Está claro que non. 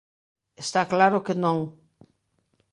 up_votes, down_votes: 2, 0